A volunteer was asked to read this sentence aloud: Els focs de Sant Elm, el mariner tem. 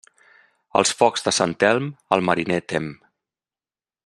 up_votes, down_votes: 2, 0